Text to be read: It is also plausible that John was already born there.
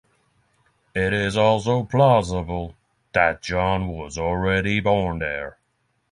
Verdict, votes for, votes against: accepted, 6, 0